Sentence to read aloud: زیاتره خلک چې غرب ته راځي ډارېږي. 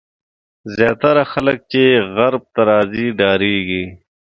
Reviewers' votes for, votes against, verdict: 2, 0, accepted